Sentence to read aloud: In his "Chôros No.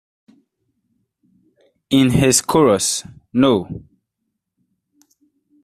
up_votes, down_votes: 2, 1